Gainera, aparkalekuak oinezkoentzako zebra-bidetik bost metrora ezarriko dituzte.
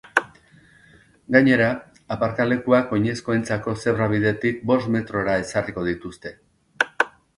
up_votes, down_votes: 5, 0